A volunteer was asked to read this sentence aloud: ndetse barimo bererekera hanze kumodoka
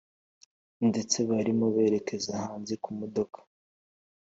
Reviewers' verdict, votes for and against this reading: accepted, 4, 1